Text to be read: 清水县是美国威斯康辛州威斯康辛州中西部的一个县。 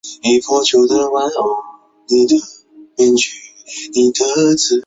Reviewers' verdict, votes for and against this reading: rejected, 0, 4